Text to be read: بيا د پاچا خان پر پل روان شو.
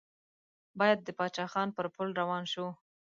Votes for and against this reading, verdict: 0, 2, rejected